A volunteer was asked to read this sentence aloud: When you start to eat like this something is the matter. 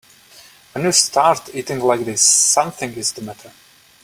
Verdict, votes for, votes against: rejected, 1, 2